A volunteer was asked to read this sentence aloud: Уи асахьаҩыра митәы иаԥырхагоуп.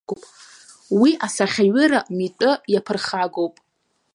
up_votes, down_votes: 3, 0